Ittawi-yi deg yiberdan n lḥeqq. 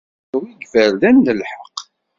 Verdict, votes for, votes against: rejected, 2, 3